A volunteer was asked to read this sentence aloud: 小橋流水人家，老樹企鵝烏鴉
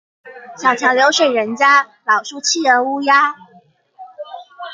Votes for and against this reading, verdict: 2, 0, accepted